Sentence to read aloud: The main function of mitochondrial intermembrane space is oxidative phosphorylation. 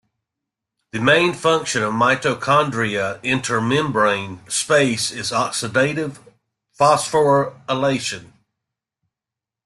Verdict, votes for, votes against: rejected, 1, 2